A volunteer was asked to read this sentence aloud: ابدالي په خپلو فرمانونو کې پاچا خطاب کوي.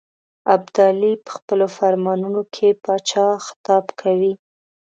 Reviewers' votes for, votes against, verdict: 2, 0, accepted